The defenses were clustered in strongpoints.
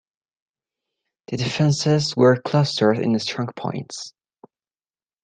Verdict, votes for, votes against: accepted, 2, 1